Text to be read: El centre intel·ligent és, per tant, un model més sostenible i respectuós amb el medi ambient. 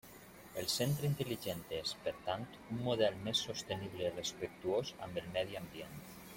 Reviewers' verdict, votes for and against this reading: rejected, 1, 2